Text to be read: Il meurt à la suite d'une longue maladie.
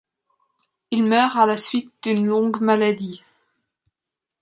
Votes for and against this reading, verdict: 2, 1, accepted